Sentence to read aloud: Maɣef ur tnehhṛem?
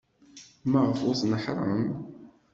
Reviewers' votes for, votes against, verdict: 1, 2, rejected